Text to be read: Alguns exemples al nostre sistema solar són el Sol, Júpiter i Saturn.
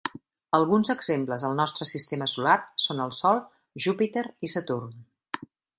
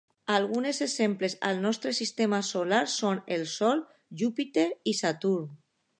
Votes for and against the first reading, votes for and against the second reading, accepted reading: 3, 0, 1, 2, first